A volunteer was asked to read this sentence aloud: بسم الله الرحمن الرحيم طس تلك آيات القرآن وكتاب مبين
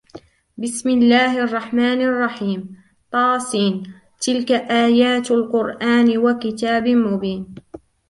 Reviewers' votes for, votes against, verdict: 2, 0, accepted